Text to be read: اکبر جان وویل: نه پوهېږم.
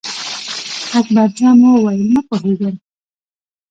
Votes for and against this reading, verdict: 1, 2, rejected